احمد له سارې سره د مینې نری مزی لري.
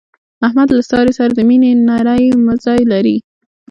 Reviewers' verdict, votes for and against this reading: rejected, 0, 2